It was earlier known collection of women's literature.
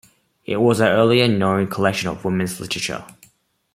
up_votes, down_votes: 0, 2